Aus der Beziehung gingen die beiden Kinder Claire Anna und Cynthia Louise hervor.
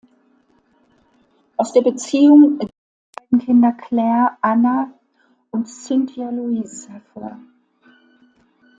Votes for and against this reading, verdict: 0, 2, rejected